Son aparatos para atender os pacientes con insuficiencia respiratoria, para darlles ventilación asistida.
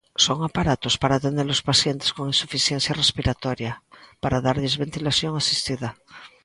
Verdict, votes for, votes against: accepted, 3, 0